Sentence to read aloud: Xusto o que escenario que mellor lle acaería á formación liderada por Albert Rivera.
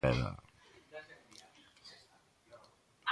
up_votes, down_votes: 0, 2